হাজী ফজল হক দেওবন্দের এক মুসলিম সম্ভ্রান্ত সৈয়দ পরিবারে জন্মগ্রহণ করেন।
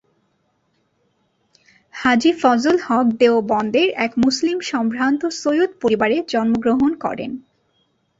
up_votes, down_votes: 2, 0